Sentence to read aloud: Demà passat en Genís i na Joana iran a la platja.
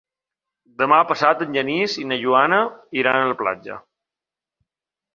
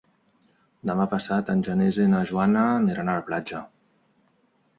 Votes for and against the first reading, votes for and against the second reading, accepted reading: 2, 0, 0, 2, first